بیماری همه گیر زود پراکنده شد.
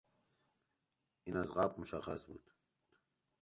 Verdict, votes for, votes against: rejected, 0, 2